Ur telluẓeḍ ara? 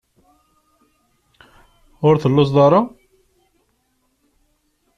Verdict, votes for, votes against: accepted, 2, 0